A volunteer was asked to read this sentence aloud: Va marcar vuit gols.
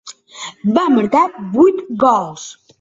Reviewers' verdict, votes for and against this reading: accepted, 2, 0